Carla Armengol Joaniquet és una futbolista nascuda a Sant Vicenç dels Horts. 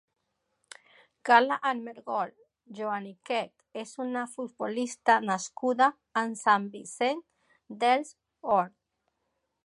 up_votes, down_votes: 0, 2